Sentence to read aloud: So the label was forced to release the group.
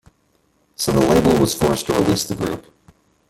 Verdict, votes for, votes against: rejected, 1, 2